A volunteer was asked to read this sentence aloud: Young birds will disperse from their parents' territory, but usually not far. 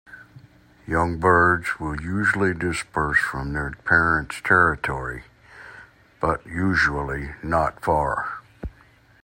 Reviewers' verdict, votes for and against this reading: rejected, 0, 2